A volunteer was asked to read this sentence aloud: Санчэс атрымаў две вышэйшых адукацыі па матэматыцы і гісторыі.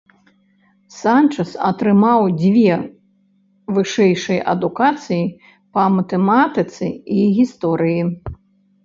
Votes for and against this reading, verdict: 0, 2, rejected